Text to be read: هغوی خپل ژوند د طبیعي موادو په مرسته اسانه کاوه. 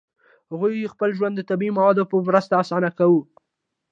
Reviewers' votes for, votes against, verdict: 2, 0, accepted